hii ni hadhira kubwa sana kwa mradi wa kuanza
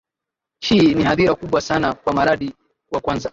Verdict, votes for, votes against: rejected, 0, 2